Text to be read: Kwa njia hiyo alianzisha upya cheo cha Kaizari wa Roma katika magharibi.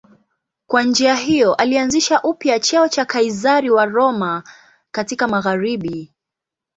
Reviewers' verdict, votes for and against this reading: accepted, 2, 1